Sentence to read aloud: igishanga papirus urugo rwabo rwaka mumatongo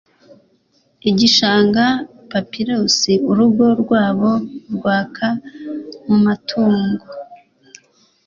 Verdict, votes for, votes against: accepted, 3, 0